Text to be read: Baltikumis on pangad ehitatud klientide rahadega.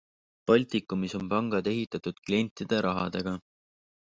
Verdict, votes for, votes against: accepted, 3, 0